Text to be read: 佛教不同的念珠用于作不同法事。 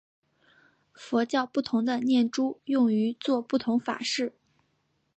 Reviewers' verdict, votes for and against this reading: accepted, 3, 0